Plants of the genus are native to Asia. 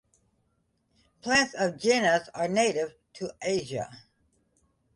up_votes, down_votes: 0, 2